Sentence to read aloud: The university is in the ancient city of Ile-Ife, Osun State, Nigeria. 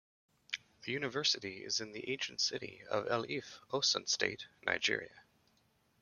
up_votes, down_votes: 0, 2